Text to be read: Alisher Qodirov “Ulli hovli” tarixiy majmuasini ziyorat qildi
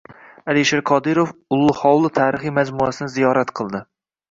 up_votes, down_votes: 2, 0